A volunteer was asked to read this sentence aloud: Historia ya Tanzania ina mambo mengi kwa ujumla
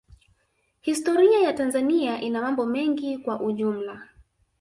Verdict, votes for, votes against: rejected, 1, 2